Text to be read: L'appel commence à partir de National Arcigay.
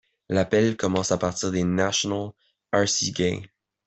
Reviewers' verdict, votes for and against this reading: accepted, 2, 0